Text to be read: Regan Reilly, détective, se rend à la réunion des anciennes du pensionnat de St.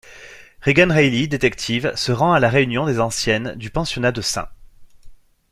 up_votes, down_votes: 2, 0